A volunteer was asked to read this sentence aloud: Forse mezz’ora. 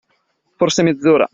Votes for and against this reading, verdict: 2, 0, accepted